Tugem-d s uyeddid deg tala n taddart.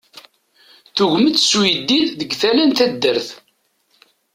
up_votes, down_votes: 2, 0